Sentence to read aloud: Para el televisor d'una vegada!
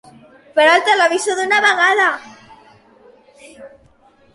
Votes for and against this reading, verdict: 2, 1, accepted